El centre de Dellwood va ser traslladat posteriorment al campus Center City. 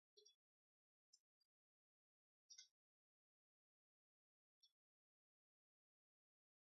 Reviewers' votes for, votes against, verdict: 0, 2, rejected